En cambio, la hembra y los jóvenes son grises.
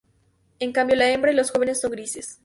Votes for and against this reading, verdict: 2, 0, accepted